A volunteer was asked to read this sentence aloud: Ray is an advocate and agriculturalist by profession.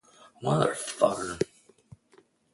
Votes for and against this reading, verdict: 0, 2, rejected